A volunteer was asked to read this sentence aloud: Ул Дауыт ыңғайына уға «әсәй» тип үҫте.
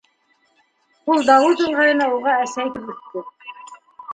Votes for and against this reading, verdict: 1, 2, rejected